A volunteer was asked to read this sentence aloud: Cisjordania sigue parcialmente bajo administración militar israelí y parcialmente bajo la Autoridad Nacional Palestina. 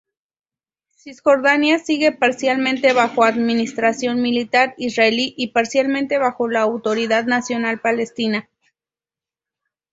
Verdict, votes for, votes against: accepted, 2, 0